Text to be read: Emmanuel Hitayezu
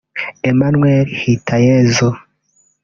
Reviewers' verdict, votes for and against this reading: accepted, 2, 0